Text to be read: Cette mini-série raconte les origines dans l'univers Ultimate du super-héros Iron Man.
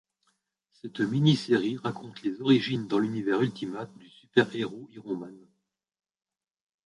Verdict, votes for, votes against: rejected, 0, 2